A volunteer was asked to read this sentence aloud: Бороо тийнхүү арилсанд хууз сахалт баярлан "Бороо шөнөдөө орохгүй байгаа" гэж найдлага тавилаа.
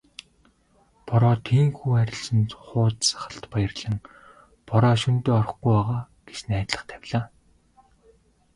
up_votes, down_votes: 2, 1